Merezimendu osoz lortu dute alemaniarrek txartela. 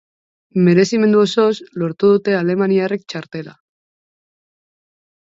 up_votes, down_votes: 2, 0